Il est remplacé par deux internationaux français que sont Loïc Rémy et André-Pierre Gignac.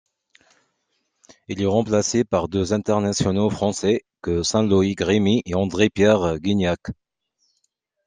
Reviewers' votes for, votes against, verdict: 0, 2, rejected